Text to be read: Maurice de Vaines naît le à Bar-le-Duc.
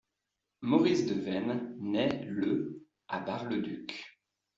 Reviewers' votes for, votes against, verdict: 2, 0, accepted